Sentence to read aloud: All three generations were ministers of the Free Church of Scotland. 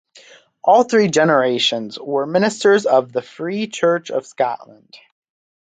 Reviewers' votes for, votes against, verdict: 4, 0, accepted